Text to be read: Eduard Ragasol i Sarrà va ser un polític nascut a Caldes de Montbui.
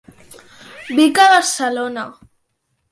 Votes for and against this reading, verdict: 1, 2, rejected